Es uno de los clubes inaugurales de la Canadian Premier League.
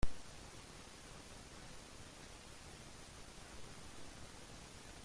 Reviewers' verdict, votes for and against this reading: rejected, 0, 2